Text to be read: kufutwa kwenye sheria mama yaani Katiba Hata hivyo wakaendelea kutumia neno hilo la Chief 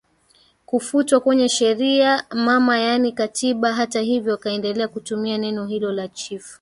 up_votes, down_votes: 4, 3